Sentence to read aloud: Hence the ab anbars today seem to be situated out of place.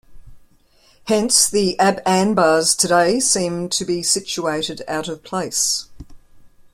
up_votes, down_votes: 0, 2